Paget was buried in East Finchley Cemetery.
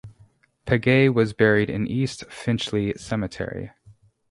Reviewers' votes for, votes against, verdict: 2, 0, accepted